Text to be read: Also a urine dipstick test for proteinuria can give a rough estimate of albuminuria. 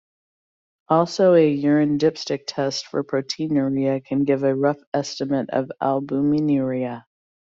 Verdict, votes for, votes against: accepted, 2, 0